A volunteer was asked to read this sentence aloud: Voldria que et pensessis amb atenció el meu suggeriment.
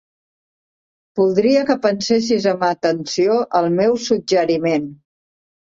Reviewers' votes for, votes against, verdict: 0, 2, rejected